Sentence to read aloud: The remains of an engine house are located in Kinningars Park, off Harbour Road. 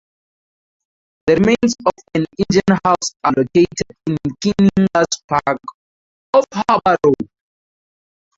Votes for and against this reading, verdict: 0, 4, rejected